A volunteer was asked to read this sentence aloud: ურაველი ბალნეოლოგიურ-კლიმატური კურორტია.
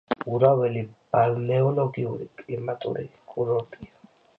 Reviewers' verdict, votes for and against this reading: accepted, 2, 0